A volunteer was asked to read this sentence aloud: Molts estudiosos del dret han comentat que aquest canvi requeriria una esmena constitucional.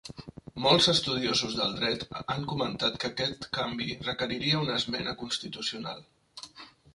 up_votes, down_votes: 3, 1